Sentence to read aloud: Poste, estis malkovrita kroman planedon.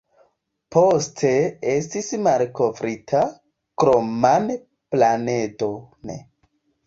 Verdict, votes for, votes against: rejected, 0, 2